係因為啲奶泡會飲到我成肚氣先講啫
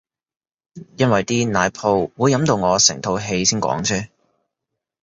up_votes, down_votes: 0, 2